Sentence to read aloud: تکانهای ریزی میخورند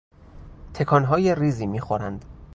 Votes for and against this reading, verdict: 2, 0, accepted